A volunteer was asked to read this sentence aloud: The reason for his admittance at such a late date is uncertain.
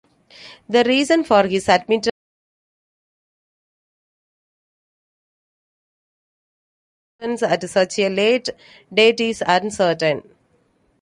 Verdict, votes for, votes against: rejected, 0, 2